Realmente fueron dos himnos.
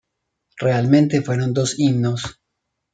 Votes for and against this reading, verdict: 2, 0, accepted